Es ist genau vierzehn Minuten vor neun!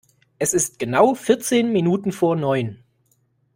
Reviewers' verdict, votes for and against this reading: accepted, 2, 0